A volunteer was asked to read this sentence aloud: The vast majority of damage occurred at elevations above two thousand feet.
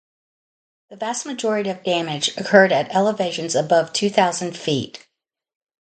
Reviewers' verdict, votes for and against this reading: accepted, 2, 0